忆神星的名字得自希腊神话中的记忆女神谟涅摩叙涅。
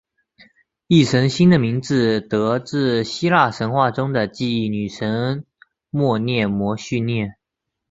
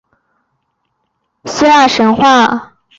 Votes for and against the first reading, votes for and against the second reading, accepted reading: 2, 0, 0, 2, first